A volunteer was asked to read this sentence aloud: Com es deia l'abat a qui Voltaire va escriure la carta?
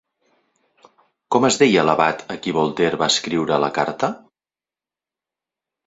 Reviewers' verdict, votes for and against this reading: accepted, 2, 0